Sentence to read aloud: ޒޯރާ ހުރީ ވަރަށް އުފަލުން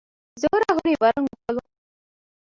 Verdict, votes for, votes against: rejected, 0, 2